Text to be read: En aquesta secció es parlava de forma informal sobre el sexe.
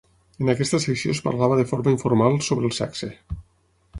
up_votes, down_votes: 9, 0